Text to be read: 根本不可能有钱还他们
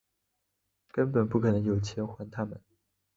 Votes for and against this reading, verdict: 2, 0, accepted